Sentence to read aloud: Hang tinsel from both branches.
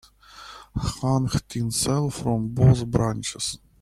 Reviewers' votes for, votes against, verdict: 2, 0, accepted